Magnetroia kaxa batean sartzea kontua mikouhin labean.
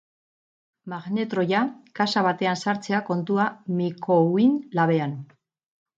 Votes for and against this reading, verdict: 0, 2, rejected